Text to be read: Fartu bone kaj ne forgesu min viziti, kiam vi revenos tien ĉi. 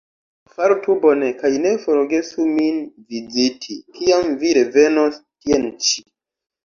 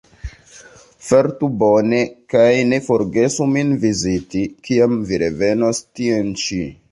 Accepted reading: first